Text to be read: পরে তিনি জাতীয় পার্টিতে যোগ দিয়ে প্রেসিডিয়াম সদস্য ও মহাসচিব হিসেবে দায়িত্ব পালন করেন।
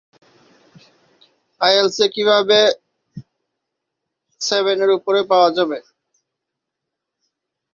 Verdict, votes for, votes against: rejected, 1, 3